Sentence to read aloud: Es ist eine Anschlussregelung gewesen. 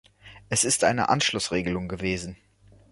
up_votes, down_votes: 2, 0